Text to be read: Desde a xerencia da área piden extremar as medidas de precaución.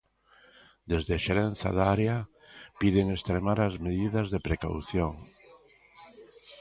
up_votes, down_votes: 0, 2